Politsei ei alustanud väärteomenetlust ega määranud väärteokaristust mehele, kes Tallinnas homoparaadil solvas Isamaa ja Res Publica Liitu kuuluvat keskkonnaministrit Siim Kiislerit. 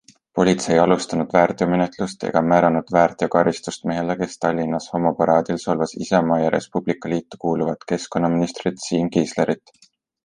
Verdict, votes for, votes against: accepted, 2, 0